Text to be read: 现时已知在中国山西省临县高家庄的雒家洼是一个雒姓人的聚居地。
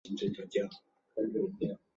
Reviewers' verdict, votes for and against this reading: rejected, 2, 3